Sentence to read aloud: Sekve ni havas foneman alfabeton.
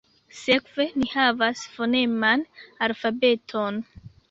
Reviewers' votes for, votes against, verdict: 2, 0, accepted